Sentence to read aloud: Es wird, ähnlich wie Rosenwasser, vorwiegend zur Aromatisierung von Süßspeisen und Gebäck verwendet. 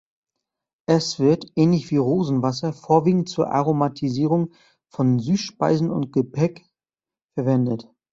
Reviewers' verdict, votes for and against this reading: rejected, 0, 2